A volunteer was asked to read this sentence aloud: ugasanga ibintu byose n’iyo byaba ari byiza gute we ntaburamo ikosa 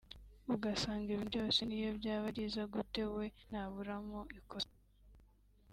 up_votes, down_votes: 2, 1